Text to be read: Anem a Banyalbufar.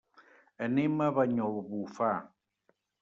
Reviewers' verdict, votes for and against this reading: rejected, 1, 2